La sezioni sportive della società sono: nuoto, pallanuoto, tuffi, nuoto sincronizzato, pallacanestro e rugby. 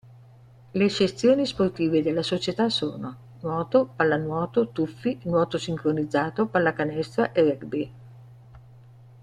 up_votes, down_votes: 2, 0